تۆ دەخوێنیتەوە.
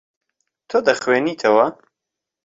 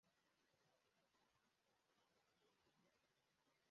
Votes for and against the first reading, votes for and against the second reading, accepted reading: 2, 0, 0, 3, first